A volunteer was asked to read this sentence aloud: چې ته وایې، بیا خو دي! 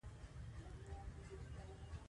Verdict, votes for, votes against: rejected, 1, 3